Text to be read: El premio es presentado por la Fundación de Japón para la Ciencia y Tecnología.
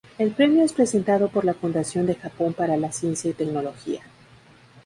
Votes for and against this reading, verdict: 2, 0, accepted